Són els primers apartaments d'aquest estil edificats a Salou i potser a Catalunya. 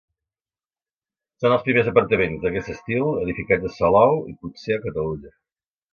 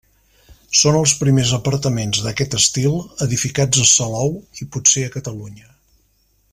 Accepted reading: second